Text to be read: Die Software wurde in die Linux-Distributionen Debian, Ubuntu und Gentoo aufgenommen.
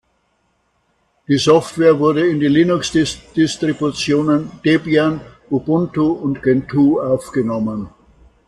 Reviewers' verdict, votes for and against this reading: rejected, 0, 2